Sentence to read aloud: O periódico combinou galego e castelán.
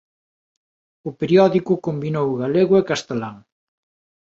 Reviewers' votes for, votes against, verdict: 2, 0, accepted